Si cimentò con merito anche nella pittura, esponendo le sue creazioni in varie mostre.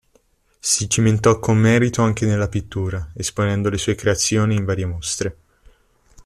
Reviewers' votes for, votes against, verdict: 2, 0, accepted